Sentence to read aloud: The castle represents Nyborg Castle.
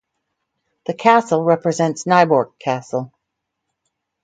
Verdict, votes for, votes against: rejected, 2, 2